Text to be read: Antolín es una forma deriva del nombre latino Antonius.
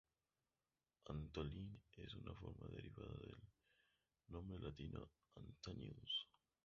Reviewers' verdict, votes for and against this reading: rejected, 0, 2